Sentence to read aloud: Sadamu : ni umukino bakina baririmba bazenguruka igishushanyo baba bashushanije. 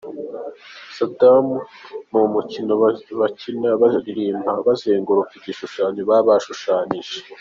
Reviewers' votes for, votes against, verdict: 3, 1, accepted